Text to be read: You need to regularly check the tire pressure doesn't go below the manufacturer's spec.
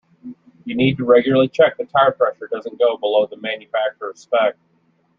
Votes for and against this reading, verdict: 0, 2, rejected